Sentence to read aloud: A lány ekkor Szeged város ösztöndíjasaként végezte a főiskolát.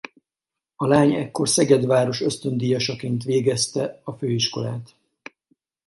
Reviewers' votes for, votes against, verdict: 4, 0, accepted